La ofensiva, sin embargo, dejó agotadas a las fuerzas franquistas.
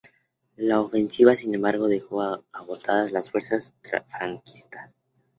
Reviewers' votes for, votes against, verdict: 0, 2, rejected